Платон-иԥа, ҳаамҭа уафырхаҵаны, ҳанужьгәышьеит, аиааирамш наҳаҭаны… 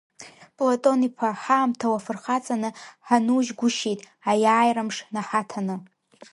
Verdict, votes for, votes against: accepted, 2, 0